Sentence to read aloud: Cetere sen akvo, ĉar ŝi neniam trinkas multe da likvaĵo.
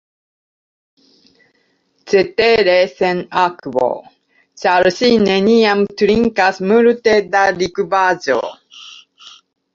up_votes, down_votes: 1, 2